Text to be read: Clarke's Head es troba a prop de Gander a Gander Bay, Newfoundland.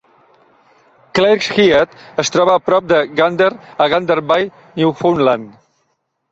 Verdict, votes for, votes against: rejected, 0, 2